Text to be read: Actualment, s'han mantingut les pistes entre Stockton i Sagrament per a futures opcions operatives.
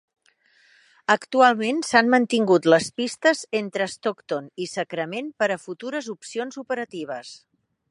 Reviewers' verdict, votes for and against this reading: rejected, 0, 2